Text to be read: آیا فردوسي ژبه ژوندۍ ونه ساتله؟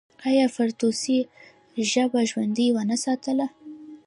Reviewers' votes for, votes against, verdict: 0, 2, rejected